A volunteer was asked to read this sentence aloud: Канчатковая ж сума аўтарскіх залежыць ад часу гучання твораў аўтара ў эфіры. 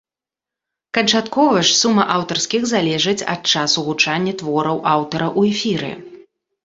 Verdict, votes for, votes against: rejected, 1, 2